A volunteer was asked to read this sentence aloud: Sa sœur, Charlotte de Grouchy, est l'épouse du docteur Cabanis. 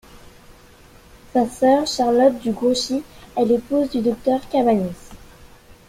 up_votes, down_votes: 2, 1